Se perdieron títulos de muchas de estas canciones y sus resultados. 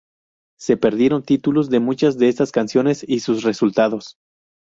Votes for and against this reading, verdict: 0, 2, rejected